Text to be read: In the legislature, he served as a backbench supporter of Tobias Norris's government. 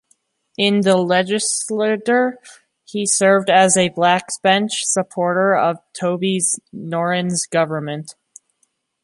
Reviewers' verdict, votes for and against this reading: rejected, 0, 2